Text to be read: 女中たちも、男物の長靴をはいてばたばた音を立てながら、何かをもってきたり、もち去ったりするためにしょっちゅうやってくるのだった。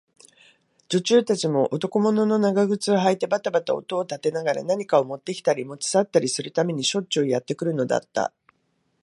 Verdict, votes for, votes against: accepted, 2, 0